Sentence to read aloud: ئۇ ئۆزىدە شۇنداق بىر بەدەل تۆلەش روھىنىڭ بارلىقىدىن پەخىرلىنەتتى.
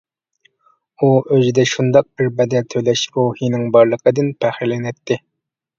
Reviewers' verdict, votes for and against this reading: accepted, 2, 0